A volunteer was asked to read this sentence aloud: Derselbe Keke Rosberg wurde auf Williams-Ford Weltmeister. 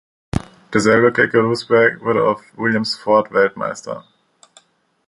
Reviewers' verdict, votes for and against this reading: accepted, 2, 0